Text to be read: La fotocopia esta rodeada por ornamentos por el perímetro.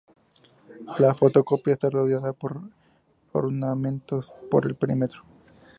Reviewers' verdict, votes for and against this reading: accepted, 2, 0